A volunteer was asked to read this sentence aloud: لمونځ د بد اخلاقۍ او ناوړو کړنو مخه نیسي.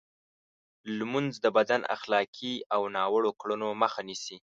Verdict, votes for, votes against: rejected, 0, 2